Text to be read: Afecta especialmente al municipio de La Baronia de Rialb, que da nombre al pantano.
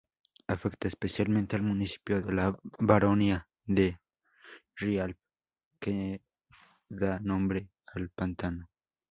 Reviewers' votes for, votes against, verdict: 2, 0, accepted